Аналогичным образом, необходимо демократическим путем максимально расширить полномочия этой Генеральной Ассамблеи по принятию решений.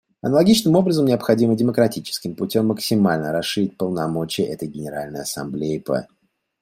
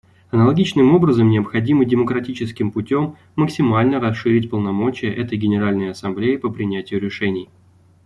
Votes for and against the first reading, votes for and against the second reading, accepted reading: 0, 2, 2, 0, second